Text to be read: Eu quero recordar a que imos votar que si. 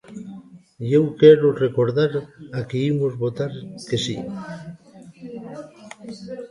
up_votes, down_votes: 0, 2